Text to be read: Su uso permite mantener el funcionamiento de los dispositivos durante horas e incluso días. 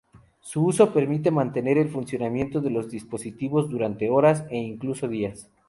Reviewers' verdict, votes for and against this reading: rejected, 0, 2